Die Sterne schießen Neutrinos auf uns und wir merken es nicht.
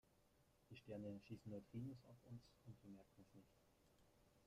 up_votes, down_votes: 1, 2